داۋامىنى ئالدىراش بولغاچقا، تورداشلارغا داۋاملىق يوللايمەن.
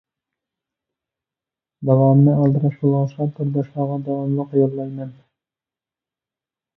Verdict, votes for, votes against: accepted, 2, 1